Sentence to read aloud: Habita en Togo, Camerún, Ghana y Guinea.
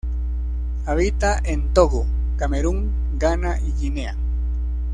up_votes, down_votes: 2, 0